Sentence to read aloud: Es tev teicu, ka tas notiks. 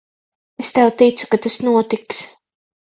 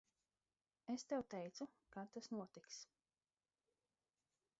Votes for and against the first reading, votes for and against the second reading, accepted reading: 3, 6, 4, 0, second